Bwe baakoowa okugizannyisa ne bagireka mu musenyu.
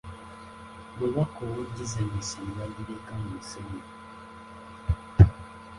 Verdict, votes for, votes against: rejected, 0, 2